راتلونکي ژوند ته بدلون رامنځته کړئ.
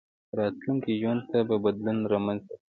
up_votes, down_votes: 2, 1